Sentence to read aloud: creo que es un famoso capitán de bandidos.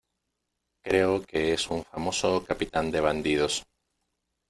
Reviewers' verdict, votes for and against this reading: accepted, 2, 0